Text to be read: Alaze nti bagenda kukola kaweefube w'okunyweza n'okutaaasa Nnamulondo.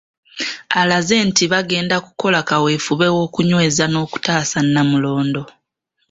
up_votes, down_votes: 2, 0